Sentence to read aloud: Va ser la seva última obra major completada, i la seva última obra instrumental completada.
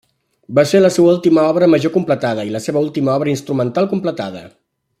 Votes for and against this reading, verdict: 3, 0, accepted